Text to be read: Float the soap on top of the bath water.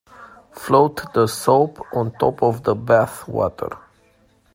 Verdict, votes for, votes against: accepted, 2, 0